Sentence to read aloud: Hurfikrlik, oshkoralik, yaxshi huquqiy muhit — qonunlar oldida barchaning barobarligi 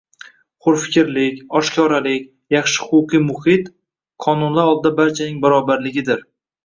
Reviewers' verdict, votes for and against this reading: accepted, 2, 1